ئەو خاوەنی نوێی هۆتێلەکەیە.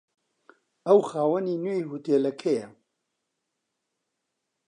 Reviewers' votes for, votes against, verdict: 2, 0, accepted